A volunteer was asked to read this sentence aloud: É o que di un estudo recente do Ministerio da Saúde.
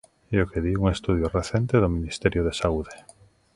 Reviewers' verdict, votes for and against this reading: accepted, 2, 0